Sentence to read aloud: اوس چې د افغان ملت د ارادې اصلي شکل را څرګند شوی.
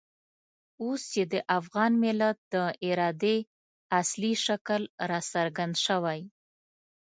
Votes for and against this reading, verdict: 2, 0, accepted